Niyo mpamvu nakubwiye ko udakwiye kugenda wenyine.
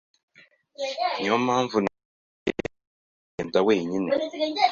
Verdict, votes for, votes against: rejected, 0, 2